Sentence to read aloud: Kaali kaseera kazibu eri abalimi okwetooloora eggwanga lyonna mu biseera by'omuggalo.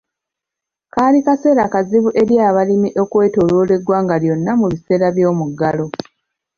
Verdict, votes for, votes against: accepted, 2, 1